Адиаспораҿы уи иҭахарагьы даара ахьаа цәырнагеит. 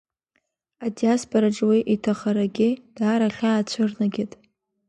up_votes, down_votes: 2, 0